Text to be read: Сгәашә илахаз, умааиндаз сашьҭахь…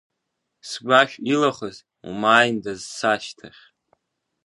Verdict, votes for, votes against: accepted, 2, 0